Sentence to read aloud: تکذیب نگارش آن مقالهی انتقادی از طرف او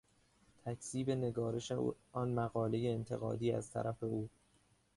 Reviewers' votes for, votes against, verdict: 1, 2, rejected